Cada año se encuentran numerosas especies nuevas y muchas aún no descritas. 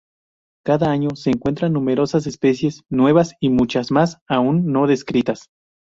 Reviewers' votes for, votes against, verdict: 0, 2, rejected